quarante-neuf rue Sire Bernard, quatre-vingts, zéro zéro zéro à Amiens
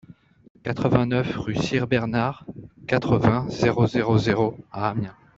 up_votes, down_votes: 0, 2